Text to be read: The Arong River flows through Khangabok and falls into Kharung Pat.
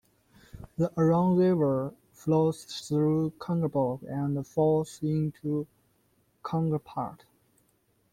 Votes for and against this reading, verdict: 1, 2, rejected